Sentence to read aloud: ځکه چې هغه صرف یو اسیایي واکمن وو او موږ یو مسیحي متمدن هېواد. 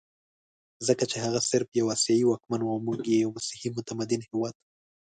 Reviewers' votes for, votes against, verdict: 2, 0, accepted